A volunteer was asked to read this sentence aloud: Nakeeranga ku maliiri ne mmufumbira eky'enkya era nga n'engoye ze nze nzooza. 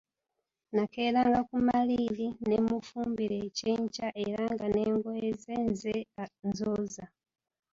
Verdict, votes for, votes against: rejected, 1, 2